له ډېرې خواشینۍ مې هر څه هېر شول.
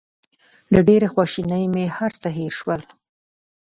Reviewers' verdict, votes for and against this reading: accepted, 2, 0